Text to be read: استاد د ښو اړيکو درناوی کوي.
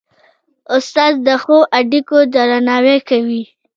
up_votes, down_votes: 0, 2